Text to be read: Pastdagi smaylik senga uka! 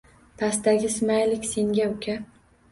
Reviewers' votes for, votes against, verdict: 2, 0, accepted